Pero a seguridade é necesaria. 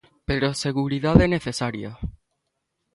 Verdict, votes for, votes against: accepted, 2, 0